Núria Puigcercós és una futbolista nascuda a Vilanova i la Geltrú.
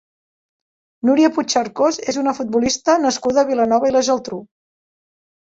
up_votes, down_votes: 3, 1